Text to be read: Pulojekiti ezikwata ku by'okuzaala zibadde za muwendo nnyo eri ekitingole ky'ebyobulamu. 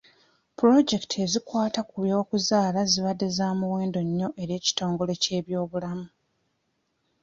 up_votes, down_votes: 0, 2